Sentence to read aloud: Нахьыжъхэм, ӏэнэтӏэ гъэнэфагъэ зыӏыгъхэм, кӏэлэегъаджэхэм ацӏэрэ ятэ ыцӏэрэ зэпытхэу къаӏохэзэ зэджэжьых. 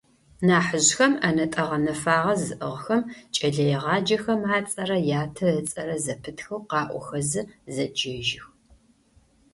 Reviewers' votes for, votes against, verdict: 2, 0, accepted